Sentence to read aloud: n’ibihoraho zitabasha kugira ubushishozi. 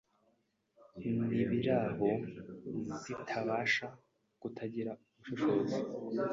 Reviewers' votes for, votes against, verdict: 0, 2, rejected